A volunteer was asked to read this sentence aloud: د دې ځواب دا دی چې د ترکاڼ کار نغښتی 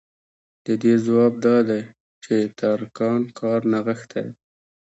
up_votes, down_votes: 2, 1